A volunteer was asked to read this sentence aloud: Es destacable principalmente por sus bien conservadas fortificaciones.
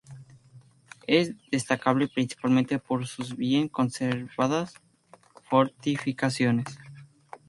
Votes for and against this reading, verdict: 0, 2, rejected